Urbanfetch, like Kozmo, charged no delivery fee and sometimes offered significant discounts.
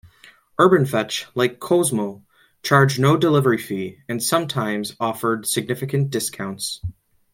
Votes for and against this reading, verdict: 2, 0, accepted